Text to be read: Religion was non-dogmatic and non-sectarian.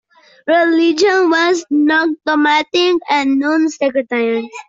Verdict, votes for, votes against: rejected, 0, 2